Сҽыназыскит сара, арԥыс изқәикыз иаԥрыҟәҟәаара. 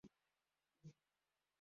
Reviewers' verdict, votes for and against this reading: rejected, 0, 2